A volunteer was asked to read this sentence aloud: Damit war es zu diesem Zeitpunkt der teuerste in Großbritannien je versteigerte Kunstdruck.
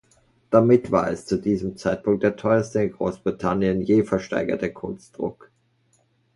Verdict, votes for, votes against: accepted, 2, 0